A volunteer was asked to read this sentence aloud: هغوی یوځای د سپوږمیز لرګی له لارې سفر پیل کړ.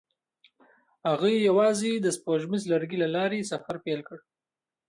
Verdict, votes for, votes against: rejected, 0, 2